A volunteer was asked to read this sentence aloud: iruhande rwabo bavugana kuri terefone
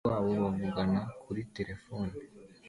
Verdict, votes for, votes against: accepted, 2, 1